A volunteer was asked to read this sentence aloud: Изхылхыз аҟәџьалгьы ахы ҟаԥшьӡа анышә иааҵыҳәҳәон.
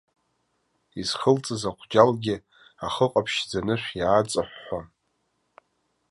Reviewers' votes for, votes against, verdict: 1, 3, rejected